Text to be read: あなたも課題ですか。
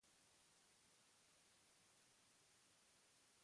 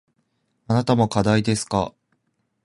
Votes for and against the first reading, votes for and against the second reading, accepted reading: 0, 2, 2, 0, second